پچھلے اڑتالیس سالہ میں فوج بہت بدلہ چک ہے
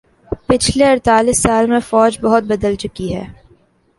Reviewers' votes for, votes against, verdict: 2, 0, accepted